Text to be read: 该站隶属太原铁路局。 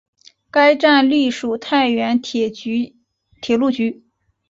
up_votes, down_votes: 1, 2